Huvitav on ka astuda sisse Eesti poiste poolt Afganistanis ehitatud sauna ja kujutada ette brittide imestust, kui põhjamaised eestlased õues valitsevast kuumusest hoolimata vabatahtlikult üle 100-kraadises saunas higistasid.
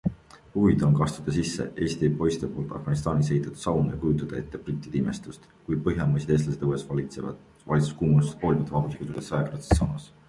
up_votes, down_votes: 0, 2